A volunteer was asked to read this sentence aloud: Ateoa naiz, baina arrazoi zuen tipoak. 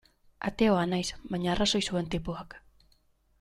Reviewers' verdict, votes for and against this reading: accepted, 2, 0